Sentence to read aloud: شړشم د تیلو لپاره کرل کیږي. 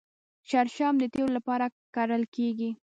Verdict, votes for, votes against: rejected, 1, 2